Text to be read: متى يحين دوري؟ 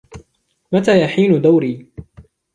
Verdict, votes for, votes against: rejected, 0, 2